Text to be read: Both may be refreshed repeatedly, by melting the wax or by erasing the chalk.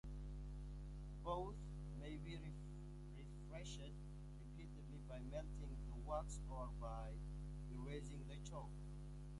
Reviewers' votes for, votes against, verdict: 0, 2, rejected